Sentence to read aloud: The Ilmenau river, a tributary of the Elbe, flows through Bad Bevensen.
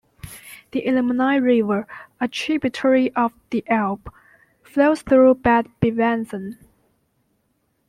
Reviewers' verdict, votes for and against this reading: rejected, 1, 2